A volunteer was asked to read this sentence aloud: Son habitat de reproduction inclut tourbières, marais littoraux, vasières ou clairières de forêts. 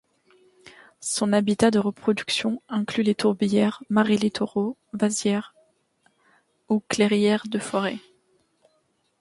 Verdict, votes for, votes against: rejected, 1, 2